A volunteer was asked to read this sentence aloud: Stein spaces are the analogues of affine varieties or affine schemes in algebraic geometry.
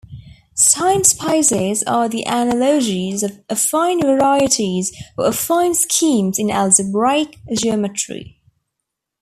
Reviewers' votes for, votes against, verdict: 0, 2, rejected